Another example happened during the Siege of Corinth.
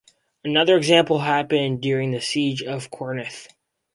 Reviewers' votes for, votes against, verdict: 0, 2, rejected